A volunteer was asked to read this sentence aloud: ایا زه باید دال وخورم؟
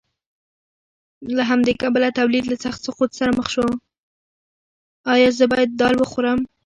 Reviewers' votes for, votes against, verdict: 2, 1, accepted